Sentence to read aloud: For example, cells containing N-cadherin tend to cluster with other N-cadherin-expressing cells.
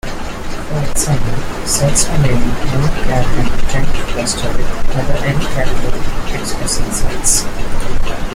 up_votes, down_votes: 0, 2